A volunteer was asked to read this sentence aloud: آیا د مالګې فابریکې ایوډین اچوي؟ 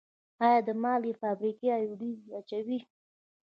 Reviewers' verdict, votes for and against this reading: accepted, 2, 0